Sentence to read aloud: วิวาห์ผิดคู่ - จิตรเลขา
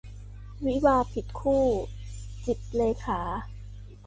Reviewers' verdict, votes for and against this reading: accepted, 3, 0